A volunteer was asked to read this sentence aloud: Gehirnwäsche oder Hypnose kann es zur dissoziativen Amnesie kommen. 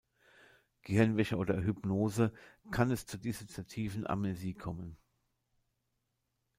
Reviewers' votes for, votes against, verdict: 2, 1, accepted